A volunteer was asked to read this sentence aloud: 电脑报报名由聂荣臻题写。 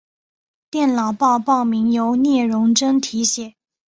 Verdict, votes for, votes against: accepted, 2, 0